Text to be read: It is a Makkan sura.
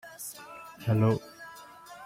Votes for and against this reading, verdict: 0, 2, rejected